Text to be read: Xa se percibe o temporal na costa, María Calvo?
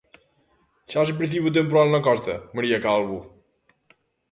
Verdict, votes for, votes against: accepted, 2, 0